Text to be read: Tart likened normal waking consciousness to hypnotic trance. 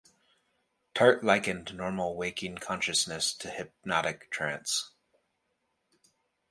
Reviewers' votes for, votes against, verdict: 2, 0, accepted